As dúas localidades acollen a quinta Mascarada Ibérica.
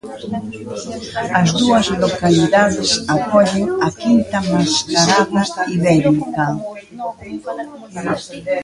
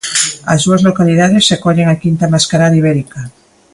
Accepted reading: second